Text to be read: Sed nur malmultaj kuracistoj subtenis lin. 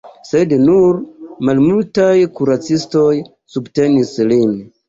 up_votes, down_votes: 2, 0